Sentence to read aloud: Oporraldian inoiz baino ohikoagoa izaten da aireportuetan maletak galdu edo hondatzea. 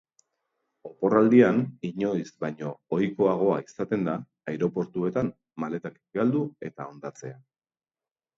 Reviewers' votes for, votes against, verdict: 1, 2, rejected